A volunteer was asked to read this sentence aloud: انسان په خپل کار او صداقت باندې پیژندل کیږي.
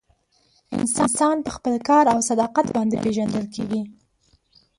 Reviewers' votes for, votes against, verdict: 0, 2, rejected